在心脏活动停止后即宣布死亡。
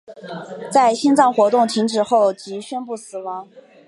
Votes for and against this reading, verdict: 4, 0, accepted